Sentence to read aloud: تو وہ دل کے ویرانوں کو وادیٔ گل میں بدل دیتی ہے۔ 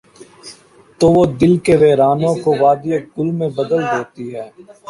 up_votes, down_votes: 2, 1